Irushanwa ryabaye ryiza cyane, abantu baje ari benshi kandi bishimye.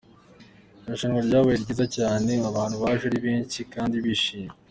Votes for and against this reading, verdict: 2, 0, accepted